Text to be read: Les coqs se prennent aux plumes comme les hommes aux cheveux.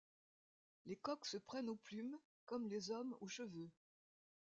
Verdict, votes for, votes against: rejected, 1, 2